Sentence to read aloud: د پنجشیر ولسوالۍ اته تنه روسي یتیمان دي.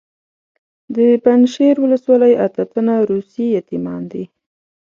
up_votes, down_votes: 2, 0